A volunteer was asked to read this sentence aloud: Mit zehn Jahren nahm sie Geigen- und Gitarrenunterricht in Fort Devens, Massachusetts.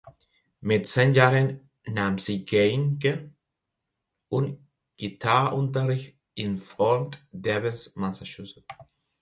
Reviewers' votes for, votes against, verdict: 1, 2, rejected